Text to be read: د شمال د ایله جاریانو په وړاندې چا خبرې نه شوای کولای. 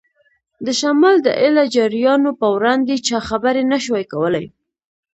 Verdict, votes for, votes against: accepted, 2, 0